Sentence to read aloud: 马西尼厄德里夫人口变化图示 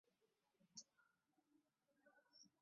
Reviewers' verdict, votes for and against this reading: rejected, 0, 2